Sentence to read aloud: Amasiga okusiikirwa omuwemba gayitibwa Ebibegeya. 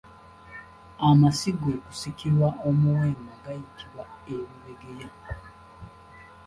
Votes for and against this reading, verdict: 1, 2, rejected